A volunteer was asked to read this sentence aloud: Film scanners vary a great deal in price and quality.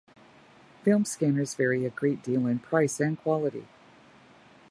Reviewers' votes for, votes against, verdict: 2, 0, accepted